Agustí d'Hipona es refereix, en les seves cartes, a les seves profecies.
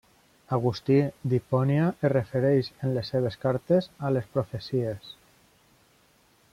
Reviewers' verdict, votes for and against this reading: rejected, 0, 2